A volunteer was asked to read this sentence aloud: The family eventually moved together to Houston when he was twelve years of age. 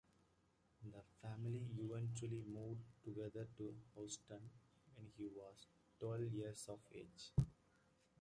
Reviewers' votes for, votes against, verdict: 1, 2, rejected